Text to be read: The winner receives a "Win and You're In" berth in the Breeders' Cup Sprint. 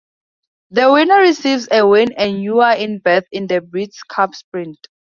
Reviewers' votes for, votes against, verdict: 0, 2, rejected